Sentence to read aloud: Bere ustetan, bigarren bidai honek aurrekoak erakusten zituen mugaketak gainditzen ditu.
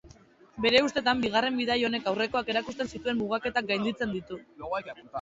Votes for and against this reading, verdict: 2, 2, rejected